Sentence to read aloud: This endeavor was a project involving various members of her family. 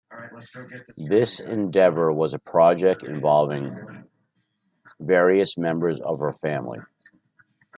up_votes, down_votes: 2, 1